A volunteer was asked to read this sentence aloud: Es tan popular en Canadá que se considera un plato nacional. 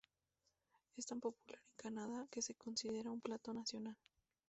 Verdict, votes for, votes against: accepted, 2, 0